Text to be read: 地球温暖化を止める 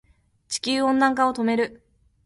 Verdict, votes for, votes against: accepted, 3, 1